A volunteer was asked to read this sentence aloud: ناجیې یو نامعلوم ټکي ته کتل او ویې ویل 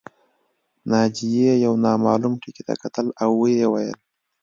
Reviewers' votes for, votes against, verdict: 2, 0, accepted